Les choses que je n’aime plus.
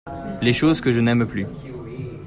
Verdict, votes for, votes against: accepted, 2, 0